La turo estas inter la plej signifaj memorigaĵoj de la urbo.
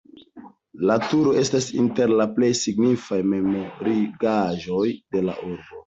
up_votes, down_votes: 1, 2